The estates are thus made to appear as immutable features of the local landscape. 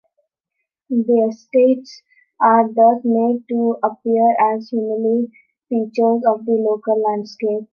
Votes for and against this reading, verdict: 0, 2, rejected